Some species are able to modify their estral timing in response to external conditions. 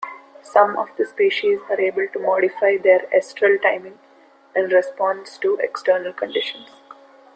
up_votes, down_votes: 0, 2